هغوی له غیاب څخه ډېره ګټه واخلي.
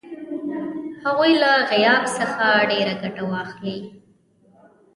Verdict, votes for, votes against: rejected, 1, 2